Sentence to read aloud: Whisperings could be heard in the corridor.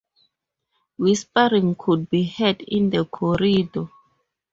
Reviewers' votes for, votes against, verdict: 0, 2, rejected